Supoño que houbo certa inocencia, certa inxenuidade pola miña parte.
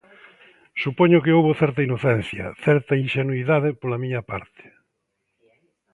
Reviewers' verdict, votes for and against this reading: accepted, 2, 1